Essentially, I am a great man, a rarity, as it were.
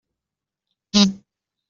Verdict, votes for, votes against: rejected, 0, 2